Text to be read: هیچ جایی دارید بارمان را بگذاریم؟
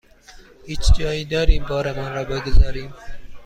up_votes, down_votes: 2, 0